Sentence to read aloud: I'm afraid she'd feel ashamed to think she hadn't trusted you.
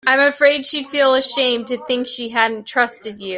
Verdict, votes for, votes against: accepted, 2, 0